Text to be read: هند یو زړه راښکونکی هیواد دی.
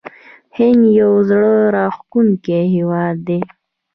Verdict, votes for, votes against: rejected, 1, 2